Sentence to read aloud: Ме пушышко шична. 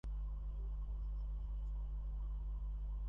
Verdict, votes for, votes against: rejected, 0, 2